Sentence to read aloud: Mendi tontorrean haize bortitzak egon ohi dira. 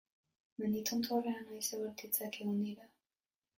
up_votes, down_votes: 0, 2